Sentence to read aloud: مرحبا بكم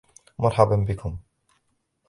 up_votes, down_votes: 1, 2